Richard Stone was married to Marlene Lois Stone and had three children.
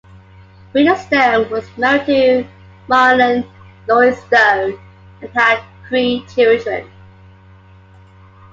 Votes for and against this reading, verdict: 1, 2, rejected